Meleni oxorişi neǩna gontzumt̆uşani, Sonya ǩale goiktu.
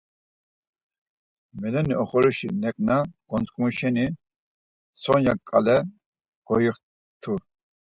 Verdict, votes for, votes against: rejected, 0, 4